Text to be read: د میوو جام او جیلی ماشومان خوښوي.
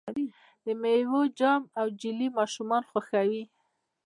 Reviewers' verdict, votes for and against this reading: rejected, 1, 2